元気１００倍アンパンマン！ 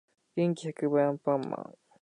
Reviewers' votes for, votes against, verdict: 0, 2, rejected